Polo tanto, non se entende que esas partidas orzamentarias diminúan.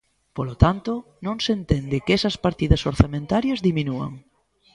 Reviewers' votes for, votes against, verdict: 2, 0, accepted